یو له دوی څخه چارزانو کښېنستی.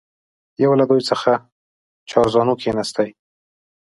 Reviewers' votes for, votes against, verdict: 2, 0, accepted